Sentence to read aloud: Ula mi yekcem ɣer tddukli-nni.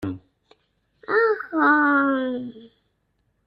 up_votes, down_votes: 0, 2